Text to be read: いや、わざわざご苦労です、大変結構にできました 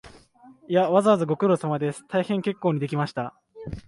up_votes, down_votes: 1, 2